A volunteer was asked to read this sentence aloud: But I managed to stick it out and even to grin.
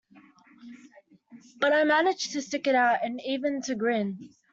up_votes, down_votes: 2, 0